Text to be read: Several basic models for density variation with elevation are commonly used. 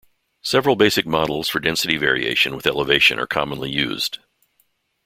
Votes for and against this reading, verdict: 2, 0, accepted